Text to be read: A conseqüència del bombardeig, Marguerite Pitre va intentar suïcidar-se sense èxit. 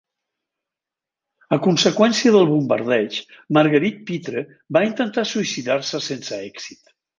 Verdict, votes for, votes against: accepted, 2, 0